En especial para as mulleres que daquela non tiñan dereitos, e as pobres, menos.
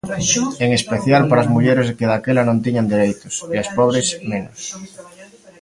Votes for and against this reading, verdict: 2, 0, accepted